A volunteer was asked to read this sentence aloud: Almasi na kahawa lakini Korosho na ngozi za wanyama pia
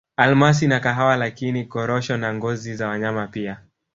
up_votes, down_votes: 1, 2